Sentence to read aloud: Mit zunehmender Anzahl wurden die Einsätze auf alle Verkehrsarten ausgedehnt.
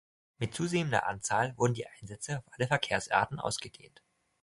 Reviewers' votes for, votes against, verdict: 1, 2, rejected